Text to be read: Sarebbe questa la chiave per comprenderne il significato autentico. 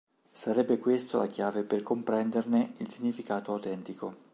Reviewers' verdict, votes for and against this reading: rejected, 1, 2